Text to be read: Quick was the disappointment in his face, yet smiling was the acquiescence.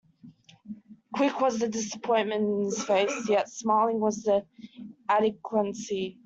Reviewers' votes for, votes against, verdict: 0, 2, rejected